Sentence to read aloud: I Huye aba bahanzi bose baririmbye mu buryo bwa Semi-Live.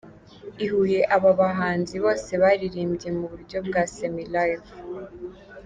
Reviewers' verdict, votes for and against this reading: accepted, 2, 0